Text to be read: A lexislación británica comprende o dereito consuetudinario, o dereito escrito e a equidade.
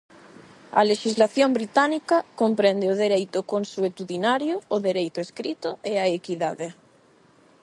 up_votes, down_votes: 8, 0